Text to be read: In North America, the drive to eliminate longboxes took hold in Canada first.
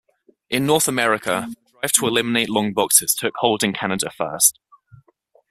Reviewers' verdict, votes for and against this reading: rejected, 0, 2